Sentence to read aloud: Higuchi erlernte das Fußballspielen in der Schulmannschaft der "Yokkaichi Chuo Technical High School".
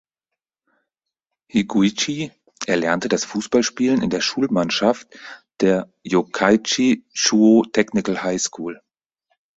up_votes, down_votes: 2, 4